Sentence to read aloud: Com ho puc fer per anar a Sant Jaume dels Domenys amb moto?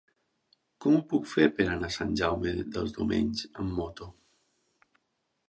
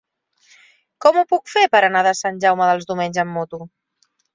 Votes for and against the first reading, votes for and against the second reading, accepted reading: 3, 0, 0, 2, first